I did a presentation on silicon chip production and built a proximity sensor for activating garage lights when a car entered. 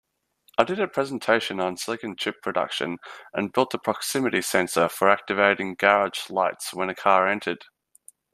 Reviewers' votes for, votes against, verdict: 2, 0, accepted